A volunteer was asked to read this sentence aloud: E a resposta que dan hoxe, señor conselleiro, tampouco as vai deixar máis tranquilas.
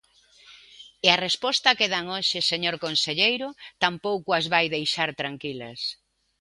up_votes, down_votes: 0, 2